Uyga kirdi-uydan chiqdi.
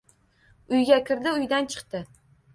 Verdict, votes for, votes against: accepted, 2, 0